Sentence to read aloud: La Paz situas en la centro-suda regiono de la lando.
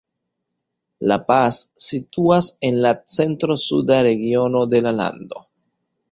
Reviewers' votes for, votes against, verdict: 1, 2, rejected